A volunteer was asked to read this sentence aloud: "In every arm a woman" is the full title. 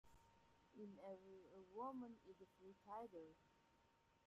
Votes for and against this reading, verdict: 0, 2, rejected